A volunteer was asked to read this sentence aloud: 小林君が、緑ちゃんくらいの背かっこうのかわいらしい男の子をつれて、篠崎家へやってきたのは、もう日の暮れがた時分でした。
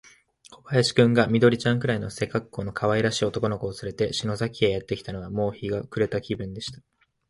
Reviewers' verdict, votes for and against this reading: rejected, 1, 2